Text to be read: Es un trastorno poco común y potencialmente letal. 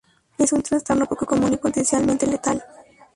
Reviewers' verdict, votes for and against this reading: accepted, 2, 0